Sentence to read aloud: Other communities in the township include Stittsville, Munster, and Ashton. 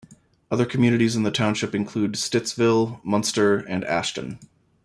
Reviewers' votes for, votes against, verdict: 2, 0, accepted